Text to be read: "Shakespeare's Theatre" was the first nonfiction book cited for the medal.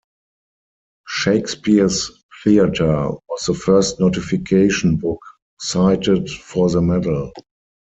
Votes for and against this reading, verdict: 0, 4, rejected